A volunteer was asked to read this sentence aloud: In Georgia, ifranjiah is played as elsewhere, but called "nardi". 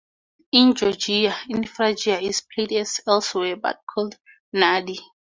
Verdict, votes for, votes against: rejected, 2, 2